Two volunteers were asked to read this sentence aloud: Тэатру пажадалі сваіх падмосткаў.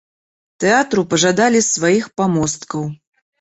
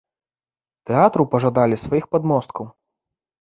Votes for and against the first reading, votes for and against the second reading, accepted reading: 1, 2, 2, 0, second